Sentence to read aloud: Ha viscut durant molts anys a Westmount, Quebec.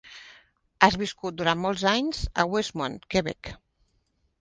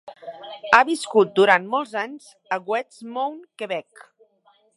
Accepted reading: second